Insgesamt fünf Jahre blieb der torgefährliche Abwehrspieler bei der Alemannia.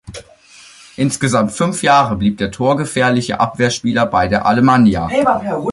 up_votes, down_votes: 1, 2